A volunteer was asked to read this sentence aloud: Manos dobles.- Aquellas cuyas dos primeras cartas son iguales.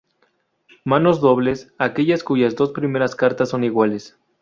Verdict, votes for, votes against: accepted, 2, 0